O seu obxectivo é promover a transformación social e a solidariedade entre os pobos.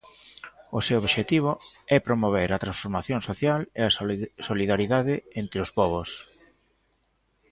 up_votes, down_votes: 0, 2